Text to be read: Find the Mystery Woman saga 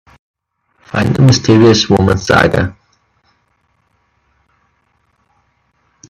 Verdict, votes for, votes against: rejected, 0, 2